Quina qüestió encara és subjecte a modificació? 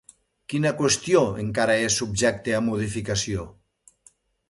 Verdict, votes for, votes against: accepted, 2, 0